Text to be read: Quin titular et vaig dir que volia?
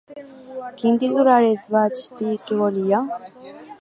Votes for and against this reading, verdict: 2, 4, rejected